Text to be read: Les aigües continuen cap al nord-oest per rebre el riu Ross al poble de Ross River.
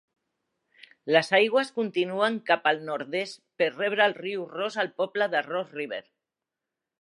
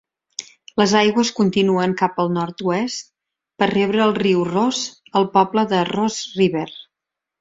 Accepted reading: second